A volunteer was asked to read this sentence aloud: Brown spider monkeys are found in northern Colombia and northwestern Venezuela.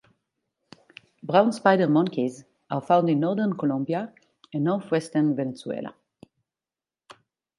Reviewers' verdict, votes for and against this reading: accepted, 2, 0